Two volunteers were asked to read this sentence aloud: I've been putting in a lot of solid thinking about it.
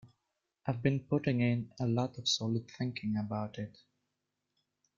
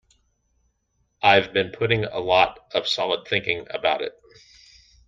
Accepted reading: first